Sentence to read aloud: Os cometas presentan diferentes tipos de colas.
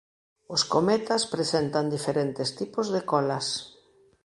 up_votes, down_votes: 3, 0